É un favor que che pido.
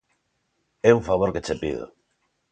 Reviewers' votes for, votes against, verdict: 2, 0, accepted